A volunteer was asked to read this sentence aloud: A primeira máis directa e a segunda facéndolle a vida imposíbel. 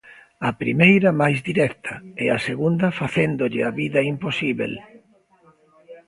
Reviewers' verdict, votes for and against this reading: accepted, 2, 0